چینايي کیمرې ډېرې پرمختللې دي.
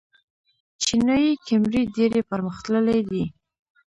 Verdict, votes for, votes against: rejected, 1, 2